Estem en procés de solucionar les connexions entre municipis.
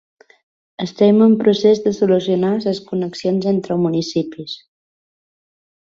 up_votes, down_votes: 2, 0